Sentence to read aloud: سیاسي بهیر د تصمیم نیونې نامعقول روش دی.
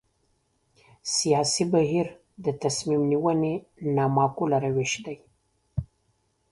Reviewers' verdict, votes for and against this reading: accepted, 2, 1